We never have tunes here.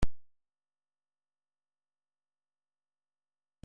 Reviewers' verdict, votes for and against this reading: rejected, 0, 2